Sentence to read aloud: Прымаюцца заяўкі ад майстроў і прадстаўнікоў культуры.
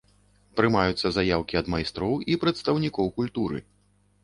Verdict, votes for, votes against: accepted, 2, 0